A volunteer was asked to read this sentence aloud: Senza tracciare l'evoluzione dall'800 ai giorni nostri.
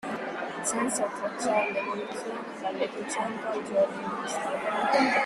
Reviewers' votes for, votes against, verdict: 0, 2, rejected